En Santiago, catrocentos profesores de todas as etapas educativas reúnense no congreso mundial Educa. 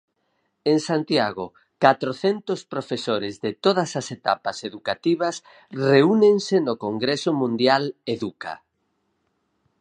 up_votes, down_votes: 4, 0